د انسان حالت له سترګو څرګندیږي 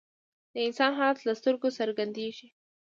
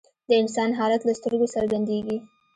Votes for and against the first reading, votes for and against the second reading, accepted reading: 0, 2, 2, 1, second